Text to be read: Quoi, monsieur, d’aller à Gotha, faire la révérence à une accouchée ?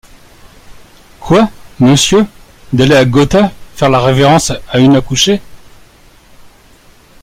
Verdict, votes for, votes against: accepted, 2, 0